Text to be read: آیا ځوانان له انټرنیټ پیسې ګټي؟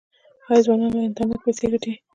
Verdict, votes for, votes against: rejected, 1, 2